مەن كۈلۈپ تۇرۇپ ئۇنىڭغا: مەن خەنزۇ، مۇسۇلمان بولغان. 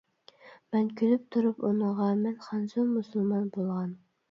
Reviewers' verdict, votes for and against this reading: rejected, 1, 2